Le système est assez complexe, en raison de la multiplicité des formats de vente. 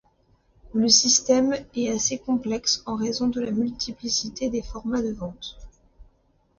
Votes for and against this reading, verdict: 2, 0, accepted